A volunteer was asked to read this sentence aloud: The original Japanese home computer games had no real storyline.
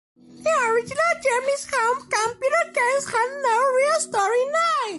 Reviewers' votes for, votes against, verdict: 2, 0, accepted